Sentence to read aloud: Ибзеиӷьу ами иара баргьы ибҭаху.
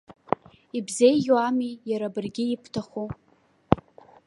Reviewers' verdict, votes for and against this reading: rejected, 1, 2